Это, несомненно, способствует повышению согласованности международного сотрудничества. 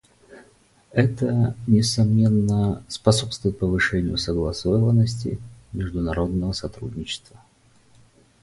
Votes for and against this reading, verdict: 2, 2, rejected